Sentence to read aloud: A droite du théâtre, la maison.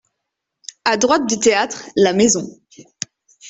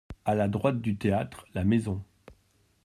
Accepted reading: first